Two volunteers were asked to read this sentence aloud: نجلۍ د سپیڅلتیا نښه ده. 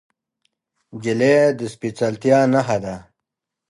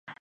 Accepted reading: first